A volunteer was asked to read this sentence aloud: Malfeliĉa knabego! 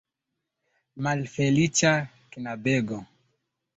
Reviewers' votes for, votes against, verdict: 2, 1, accepted